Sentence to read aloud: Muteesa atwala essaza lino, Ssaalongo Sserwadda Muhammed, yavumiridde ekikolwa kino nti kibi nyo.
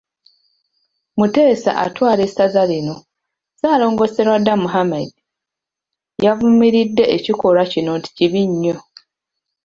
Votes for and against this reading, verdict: 3, 0, accepted